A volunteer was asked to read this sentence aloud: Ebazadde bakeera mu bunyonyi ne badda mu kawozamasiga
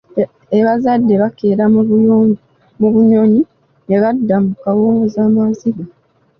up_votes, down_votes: 0, 2